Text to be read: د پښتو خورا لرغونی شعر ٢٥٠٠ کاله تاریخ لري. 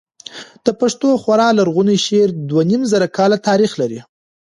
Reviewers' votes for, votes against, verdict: 0, 2, rejected